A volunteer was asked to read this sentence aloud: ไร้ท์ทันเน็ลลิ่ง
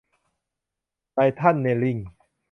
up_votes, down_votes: 1, 2